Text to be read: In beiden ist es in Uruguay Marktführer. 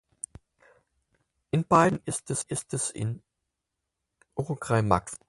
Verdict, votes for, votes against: rejected, 0, 4